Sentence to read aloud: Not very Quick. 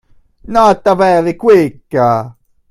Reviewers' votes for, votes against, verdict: 1, 2, rejected